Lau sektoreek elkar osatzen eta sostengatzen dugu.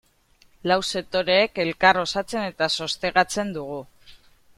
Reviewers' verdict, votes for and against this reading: rejected, 1, 3